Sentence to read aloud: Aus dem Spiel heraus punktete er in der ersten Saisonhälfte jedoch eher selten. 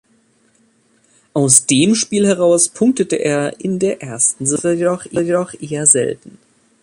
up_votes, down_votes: 0, 3